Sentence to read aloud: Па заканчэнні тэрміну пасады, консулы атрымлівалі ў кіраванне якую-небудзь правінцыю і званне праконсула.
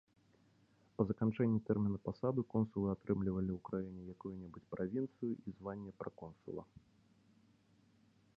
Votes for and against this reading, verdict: 0, 2, rejected